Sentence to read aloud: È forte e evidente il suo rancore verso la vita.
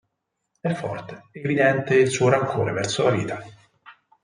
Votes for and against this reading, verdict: 4, 0, accepted